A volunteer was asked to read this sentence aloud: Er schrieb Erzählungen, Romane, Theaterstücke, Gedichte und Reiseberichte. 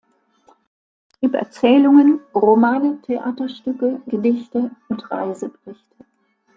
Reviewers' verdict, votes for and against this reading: rejected, 0, 2